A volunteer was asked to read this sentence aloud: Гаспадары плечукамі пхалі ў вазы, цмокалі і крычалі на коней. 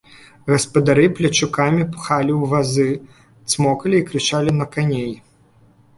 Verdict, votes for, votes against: rejected, 0, 2